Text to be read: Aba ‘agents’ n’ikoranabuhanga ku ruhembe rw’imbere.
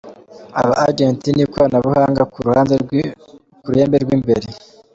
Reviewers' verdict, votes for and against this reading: rejected, 1, 2